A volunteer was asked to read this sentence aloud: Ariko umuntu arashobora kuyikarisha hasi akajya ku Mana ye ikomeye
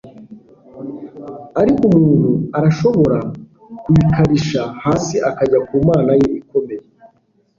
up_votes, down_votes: 2, 0